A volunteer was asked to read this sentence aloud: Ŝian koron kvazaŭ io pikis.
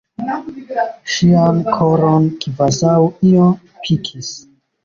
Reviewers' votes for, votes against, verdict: 3, 1, accepted